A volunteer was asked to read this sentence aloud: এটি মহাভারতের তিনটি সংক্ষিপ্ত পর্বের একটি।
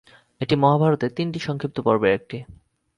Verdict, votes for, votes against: accepted, 2, 0